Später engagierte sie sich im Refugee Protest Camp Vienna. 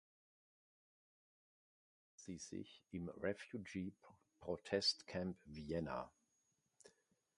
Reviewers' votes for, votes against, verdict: 0, 2, rejected